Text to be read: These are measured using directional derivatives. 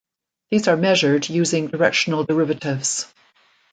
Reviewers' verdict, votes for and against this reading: accepted, 2, 0